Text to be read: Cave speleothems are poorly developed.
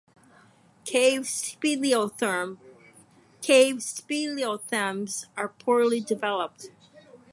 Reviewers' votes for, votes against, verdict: 2, 4, rejected